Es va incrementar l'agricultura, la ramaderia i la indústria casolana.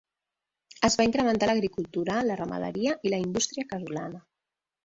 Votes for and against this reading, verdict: 1, 2, rejected